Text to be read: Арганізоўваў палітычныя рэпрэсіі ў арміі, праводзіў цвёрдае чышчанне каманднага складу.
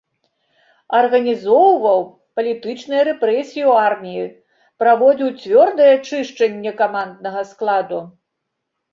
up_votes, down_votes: 2, 0